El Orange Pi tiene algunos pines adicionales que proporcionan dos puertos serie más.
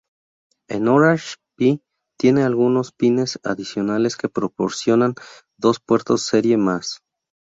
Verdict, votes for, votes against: accepted, 2, 0